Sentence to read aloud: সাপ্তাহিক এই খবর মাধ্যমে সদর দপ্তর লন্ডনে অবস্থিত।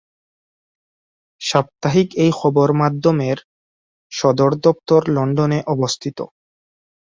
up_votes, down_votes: 2, 0